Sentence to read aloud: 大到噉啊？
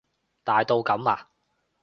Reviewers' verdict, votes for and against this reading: accepted, 2, 0